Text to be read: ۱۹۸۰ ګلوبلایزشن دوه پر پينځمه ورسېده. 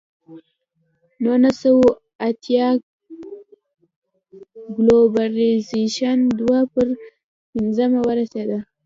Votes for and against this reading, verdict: 0, 2, rejected